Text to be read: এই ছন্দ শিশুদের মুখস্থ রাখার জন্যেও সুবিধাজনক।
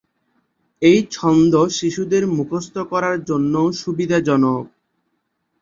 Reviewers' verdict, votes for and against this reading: rejected, 2, 3